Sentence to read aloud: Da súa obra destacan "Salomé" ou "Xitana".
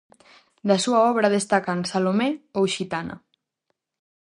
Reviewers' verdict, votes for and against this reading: accepted, 2, 0